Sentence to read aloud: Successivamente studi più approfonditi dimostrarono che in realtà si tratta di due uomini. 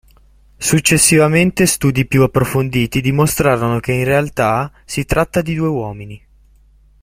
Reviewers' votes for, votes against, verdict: 2, 0, accepted